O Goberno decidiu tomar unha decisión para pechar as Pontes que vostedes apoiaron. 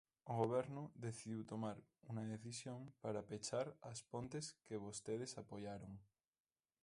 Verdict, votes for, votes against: rejected, 0, 2